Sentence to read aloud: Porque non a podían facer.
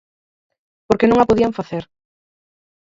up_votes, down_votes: 4, 0